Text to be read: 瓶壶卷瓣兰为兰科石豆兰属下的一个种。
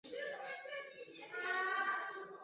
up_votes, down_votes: 3, 4